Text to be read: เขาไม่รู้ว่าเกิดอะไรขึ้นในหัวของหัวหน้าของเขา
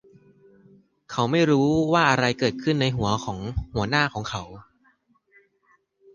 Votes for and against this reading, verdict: 0, 2, rejected